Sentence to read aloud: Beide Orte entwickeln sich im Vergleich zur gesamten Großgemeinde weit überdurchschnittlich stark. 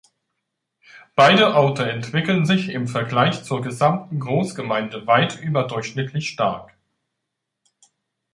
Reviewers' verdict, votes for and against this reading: accepted, 2, 0